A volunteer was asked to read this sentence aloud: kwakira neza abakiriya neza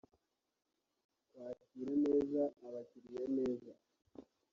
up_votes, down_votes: 2, 0